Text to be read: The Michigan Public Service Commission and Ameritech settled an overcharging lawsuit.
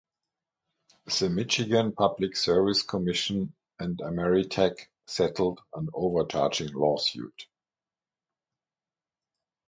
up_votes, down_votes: 3, 3